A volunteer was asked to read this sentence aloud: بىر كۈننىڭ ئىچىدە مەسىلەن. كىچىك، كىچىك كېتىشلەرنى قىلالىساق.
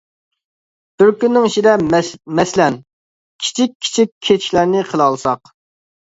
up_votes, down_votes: 0, 2